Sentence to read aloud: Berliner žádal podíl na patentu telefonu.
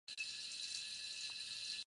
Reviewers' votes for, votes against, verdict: 0, 2, rejected